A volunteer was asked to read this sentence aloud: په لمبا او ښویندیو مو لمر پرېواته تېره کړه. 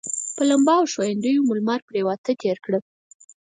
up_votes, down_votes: 4, 0